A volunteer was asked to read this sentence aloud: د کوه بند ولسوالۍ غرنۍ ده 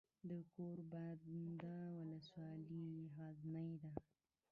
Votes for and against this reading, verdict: 1, 2, rejected